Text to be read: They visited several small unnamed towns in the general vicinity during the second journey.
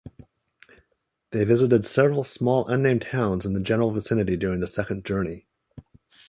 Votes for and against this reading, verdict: 2, 0, accepted